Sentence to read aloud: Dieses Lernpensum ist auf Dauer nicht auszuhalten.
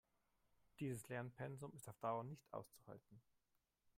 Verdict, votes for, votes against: rejected, 1, 3